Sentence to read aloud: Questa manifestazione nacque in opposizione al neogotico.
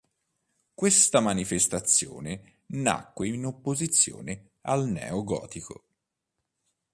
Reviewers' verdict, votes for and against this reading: accepted, 3, 0